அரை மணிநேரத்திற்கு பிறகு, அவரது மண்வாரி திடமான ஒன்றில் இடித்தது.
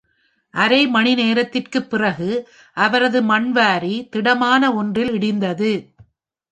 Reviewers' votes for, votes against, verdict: 1, 2, rejected